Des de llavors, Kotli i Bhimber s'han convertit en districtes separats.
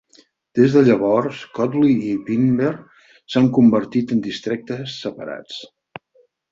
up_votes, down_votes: 0, 4